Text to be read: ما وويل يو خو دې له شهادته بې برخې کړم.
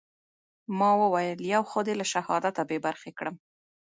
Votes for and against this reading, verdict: 1, 2, rejected